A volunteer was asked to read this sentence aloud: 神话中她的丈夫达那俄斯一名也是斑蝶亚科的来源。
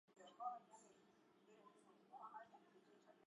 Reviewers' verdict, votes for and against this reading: rejected, 0, 4